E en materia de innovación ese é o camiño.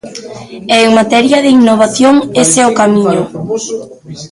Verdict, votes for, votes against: accepted, 2, 0